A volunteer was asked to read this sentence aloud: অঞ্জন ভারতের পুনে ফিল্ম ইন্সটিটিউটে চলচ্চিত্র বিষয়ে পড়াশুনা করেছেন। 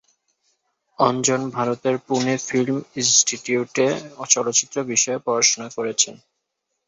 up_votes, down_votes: 2, 0